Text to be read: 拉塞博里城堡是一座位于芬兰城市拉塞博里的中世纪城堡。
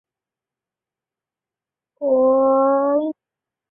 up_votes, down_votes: 0, 2